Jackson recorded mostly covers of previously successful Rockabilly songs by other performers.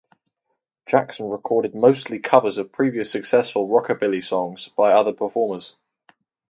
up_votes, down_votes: 4, 0